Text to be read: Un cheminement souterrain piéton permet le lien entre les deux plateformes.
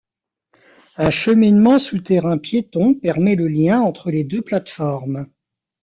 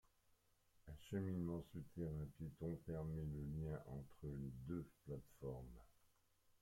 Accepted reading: first